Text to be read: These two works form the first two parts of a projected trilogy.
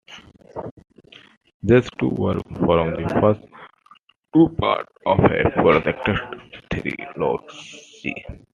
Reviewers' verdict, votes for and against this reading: rejected, 0, 2